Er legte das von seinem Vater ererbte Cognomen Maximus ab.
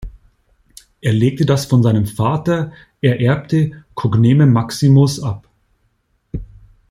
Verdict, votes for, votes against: rejected, 0, 2